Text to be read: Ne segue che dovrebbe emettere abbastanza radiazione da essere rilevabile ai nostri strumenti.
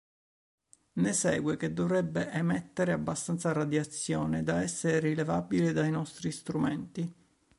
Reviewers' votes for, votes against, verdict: 0, 2, rejected